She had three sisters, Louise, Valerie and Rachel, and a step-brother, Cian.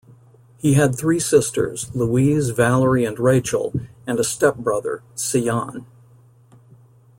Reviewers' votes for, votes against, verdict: 1, 2, rejected